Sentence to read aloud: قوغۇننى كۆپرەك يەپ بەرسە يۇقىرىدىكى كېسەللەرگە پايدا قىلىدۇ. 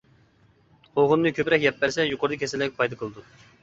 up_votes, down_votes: 1, 2